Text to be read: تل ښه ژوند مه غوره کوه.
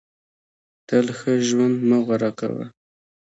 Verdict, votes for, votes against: accepted, 2, 0